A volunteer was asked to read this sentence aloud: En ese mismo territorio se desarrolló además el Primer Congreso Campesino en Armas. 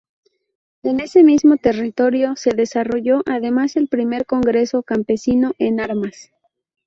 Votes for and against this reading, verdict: 2, 0, accepted